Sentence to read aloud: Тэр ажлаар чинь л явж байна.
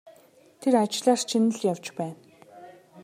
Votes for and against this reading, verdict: 2, 0, accepted